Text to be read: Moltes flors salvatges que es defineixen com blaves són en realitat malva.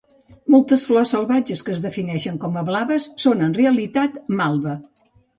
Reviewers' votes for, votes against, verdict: 0, 2, rejected